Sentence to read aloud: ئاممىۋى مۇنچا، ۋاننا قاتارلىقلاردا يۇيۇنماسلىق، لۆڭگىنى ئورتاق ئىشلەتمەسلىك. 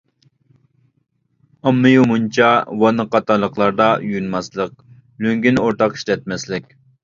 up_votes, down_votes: 2, 0